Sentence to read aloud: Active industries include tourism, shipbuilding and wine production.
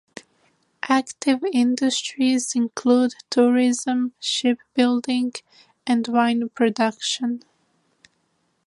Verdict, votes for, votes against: rejected, 1, 2